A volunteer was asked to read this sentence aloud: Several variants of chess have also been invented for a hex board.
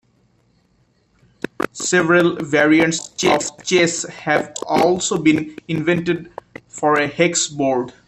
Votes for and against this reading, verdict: 2, 0, accepted